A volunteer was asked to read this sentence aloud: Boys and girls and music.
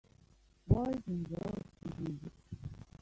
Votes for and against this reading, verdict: 1, 2, rejected